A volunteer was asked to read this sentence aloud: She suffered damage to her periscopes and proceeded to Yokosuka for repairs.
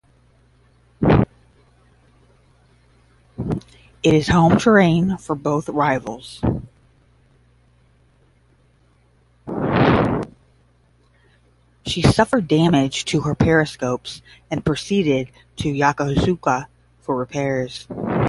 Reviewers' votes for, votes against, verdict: 0, 10, rejected